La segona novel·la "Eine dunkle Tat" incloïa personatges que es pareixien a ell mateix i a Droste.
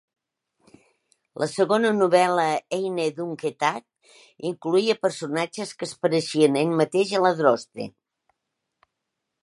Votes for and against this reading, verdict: 2, 1, accepted